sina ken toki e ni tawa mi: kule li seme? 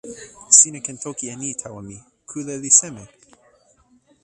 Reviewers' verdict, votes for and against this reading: rejected, 1, 2